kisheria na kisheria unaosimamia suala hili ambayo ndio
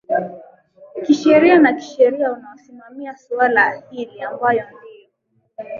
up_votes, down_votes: 2, 1